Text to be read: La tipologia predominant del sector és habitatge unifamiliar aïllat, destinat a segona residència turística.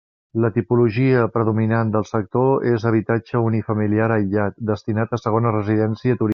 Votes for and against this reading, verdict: 1, 2, rejected